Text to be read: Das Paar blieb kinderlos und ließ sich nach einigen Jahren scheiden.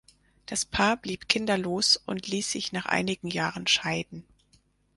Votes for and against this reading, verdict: 4, 0, accepted